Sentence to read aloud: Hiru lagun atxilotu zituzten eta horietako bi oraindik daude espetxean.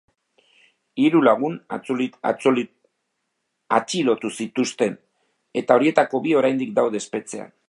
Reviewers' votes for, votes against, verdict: 0, 2, rejected